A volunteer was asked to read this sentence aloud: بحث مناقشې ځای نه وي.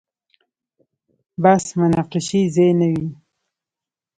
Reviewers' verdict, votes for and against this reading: accepted, 2, 0